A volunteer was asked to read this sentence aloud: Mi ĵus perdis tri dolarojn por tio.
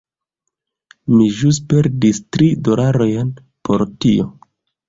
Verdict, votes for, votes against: rejected, 1, 2